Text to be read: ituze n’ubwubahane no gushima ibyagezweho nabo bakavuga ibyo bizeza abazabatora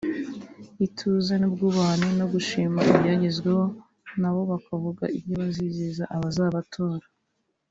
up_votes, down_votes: 2, 0